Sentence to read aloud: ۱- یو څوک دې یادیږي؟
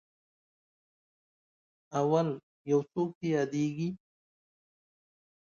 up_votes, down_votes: 0, 2